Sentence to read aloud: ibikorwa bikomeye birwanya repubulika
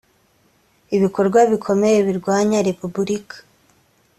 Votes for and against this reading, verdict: 2, 0, accepted